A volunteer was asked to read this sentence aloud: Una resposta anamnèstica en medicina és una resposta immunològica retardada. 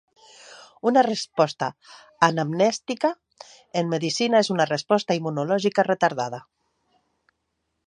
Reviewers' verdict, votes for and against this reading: accepted, 3, 0